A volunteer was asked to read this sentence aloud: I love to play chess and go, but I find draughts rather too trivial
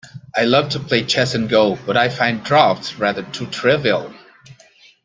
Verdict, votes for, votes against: rejected, 2, 3